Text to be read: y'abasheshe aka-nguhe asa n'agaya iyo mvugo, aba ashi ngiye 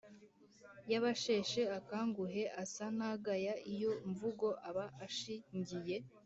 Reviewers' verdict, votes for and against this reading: accepted, 2, 0